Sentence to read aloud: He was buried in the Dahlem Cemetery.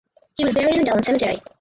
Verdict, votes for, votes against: rejected, 0, 4